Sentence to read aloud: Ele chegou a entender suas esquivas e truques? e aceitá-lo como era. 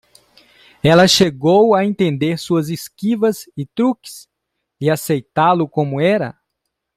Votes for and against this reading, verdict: 0, 2, rejected